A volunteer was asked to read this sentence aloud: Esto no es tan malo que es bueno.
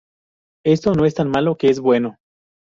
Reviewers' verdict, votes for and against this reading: accepted, 2, 0